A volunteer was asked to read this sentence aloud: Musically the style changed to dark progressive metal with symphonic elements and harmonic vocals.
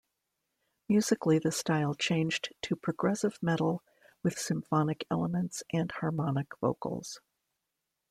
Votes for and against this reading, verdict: 1, 2, rejected